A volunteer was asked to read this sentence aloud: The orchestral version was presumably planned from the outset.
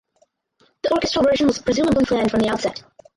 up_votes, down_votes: 0, 6